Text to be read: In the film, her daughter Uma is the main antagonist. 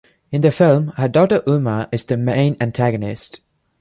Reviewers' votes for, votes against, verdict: 3, 0, accepted